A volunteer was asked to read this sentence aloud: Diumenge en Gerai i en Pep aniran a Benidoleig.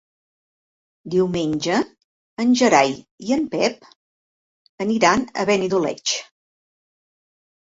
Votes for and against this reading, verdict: 2, 0, accepted